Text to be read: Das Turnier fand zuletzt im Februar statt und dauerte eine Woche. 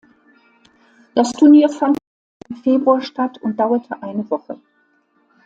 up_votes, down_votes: 0, 2